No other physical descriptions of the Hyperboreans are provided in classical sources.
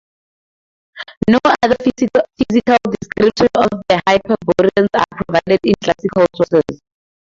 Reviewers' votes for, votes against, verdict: 2, 0, accepted